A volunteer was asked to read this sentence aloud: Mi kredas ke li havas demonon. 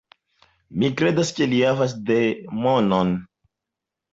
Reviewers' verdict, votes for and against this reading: accepted, 2, 0